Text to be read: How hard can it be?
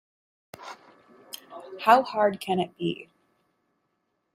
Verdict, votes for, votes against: accepted, 2, 0